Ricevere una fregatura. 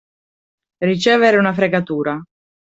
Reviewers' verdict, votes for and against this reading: accepted, 2, 0